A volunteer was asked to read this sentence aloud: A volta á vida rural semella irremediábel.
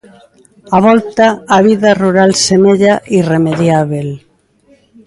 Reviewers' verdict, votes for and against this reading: accepted, 2, 0